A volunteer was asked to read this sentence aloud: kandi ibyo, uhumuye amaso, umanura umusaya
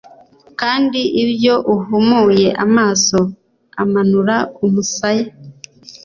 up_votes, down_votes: 2, 1